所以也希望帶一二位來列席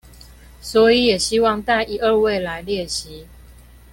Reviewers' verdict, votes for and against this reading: accepted, 2, 0